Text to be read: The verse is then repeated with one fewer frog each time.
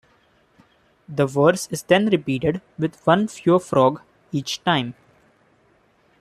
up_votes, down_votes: 1, 2